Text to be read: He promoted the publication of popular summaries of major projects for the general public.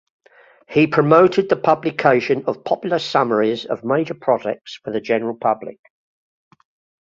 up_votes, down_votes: 2, 0